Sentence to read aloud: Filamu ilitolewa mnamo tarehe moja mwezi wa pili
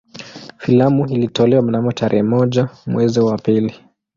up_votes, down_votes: 2, 0